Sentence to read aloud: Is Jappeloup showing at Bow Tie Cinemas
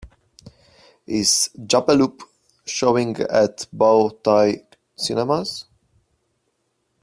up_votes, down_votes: 2, 0